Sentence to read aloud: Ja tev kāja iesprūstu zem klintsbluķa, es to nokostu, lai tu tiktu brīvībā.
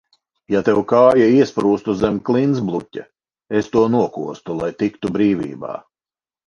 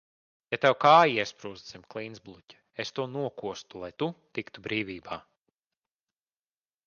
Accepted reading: second